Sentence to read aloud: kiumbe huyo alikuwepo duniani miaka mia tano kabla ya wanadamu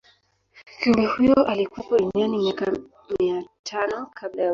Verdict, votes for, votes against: rejected, 1, 4